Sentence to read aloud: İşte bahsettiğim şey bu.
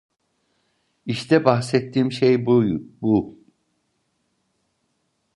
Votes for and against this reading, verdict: 0, 2, rejected